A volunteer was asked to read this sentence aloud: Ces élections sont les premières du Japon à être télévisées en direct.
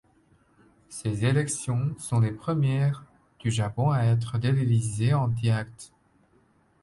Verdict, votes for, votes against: rejected, 1, 2